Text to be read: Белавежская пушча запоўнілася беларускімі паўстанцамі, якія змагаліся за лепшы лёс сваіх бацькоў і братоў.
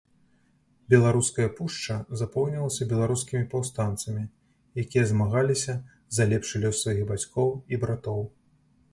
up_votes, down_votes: 0, 2